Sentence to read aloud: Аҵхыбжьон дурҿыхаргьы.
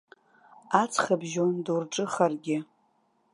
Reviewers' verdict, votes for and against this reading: rejected, 1, 2